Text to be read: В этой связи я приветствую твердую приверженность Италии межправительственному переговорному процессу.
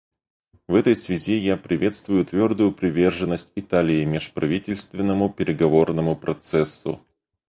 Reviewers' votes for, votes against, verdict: 2, 2, rejected